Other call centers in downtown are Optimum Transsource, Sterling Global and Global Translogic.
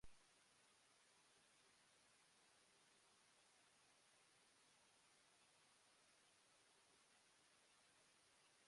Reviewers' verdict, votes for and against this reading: rejected, 0, 2